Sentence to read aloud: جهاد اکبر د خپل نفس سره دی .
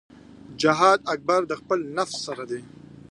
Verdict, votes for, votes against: rejected, 1, 2